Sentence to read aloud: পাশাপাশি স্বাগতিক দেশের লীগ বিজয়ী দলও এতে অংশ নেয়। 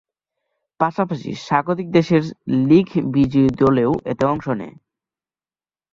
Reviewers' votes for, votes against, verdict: 2, 2, rejected